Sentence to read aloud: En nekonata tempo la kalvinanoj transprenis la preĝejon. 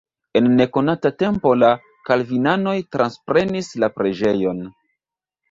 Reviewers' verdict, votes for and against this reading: rejected, 1, 2